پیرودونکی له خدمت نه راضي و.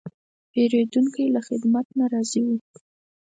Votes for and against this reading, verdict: 4, 0, accepted